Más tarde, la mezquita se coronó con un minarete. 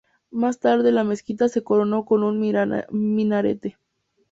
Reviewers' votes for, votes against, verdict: 0, 2, rejected